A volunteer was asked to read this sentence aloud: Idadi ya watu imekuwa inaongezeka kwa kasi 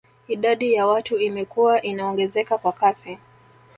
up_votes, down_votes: 2, 3